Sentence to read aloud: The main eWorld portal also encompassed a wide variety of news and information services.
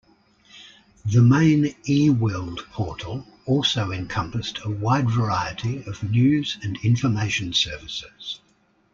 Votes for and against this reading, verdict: 2, 0, accepted